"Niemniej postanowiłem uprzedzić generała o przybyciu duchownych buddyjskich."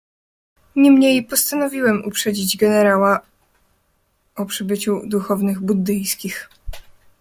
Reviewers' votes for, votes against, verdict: 2, 0, accepted